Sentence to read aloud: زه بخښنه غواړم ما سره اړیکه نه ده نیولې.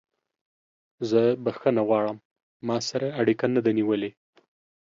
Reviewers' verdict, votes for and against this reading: accepted, 2, 0